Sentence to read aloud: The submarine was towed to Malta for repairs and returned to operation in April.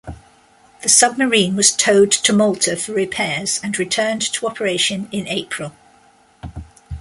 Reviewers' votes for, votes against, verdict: 2, 0, accepted